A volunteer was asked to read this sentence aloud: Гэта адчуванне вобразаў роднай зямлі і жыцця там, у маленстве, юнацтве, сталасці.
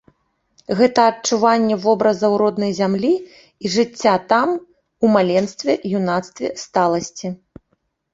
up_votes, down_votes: 2, 0